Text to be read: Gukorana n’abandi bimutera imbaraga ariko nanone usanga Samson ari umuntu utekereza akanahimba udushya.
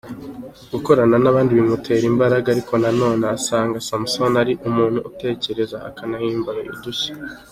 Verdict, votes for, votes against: accepted, 2, 1